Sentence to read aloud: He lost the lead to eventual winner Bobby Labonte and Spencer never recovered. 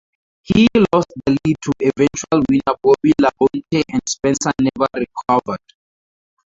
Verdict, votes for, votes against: rejected, 0, 4